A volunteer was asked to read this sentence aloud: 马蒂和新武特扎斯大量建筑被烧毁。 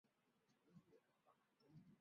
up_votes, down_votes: 0, 3